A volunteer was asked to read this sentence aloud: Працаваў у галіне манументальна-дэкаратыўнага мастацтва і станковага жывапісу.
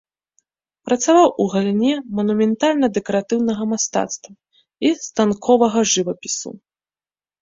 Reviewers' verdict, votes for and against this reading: accepted, 2, 0